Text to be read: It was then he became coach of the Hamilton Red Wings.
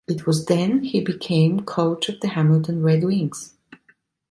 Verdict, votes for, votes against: accepted, 2, 0